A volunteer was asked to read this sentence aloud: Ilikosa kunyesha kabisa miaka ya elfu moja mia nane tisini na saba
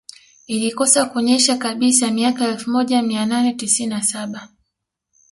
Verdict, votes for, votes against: accepted, 2, 0